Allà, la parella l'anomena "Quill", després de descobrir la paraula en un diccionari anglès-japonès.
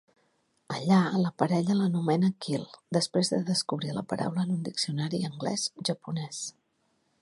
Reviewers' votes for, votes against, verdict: 4, 0, accepted